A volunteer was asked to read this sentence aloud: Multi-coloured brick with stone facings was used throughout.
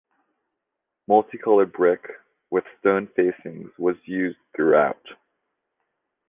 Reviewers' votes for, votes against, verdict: 2, 0, accepted